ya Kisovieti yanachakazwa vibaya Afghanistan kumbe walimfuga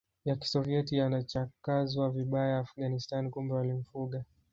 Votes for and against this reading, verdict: 1, 2, rejected